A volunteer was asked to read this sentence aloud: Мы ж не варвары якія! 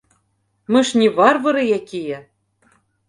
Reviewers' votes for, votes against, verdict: 2, 0, accepted